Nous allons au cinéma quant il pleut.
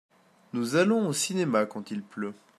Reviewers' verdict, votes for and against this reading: accepted, 2, 0